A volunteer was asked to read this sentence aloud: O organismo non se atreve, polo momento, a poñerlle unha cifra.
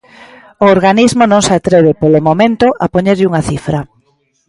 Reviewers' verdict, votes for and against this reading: accepted, 2, 0